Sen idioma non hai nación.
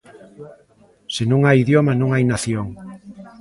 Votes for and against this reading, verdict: 0, 2, rejected